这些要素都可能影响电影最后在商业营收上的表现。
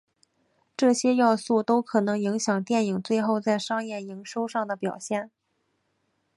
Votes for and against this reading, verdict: 4, 0, accepted